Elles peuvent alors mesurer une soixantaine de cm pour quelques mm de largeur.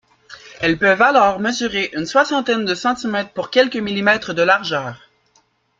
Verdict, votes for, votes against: accepted, 2, 1